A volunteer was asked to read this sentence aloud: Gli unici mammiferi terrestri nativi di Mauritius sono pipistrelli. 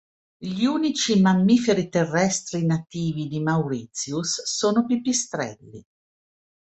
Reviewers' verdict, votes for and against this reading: accepted, 2, 0